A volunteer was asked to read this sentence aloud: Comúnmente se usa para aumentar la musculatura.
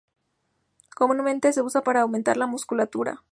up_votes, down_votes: 2, 0